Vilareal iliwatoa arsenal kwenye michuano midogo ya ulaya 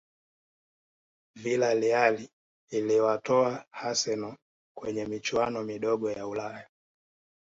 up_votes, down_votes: 2, 0